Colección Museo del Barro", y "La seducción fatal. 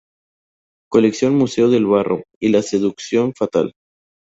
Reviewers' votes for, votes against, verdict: 4, 0, accepted